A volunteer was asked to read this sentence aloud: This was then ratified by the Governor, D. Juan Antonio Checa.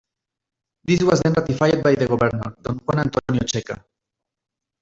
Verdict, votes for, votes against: accepted, 2, 0